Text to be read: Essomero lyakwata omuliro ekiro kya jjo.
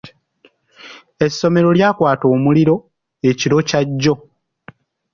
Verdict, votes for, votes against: accepted, 2, 1